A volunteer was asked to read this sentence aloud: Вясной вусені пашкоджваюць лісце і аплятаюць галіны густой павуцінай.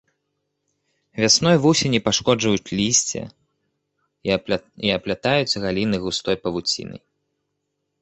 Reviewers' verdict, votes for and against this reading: rejected, 0, 2